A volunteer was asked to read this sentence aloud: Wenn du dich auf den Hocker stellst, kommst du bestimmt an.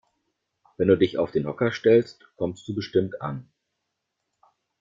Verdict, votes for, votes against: accepted, 2, 0